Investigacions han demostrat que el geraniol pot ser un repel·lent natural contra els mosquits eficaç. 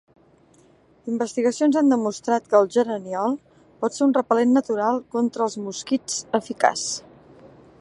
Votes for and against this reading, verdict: 3, 0, accepted